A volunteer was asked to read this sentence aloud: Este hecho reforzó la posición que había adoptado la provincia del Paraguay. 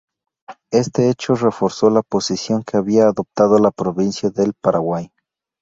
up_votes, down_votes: 2, 0